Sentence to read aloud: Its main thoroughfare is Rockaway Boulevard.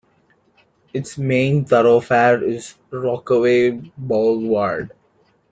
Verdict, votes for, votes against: rejected, 1, 2